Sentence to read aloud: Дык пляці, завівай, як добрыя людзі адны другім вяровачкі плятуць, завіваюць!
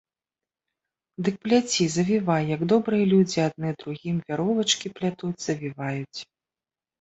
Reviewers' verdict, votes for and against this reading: accepted, 3, 0